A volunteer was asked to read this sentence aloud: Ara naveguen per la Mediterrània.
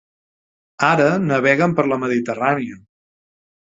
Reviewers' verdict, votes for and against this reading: accepted, 3, 0